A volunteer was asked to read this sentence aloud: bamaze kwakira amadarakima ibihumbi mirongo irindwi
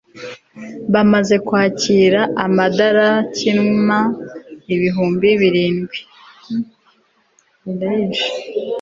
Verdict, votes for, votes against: rejected, 0, 2